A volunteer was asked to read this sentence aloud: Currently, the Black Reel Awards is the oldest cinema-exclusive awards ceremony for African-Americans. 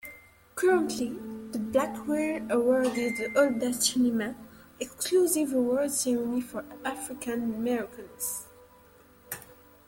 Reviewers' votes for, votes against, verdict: 2, 0, accepted